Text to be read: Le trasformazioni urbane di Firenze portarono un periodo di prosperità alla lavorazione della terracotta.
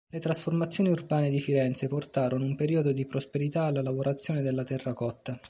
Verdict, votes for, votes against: accepted, 2, 0